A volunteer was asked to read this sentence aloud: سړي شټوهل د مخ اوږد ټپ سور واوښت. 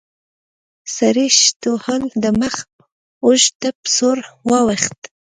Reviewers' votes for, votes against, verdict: 1, 2, rejected